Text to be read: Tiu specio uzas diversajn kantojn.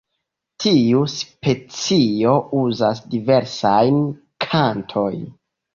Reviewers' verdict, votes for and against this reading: rejected, 1, 2